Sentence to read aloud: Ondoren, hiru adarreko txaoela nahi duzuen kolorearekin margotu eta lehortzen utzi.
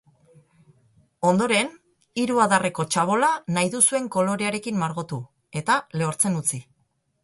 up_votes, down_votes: 0, 2